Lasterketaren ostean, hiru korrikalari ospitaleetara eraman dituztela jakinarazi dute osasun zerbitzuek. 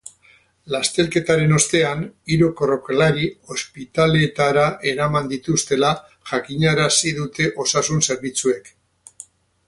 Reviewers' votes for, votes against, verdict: 0, 4, rejected